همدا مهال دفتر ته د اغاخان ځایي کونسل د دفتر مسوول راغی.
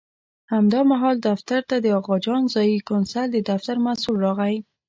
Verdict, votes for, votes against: rejected, 1, 2